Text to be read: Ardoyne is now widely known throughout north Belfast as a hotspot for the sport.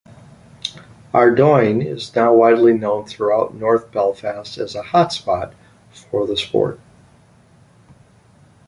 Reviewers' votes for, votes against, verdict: 2, 0, accepted